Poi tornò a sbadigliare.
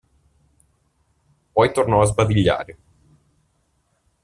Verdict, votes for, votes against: accepted, 2, 0